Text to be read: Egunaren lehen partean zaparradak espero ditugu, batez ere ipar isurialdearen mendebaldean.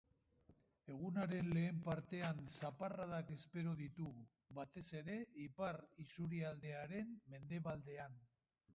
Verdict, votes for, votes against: accepted, 2, 1